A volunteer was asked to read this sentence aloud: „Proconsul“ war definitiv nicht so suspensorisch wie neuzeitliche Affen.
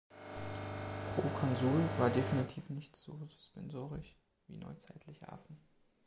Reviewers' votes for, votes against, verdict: 2, 0, accepted